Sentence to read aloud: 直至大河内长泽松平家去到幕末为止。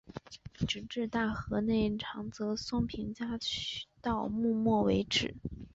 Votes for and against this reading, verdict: 1, 2, rejected